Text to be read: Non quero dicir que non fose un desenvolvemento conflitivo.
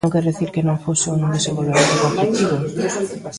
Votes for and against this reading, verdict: 1, 2, rejected